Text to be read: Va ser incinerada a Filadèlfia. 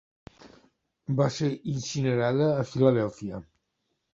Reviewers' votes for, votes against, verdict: 2, 0, accepted